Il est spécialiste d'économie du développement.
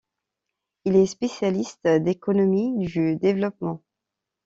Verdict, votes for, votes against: accepted, 2, 0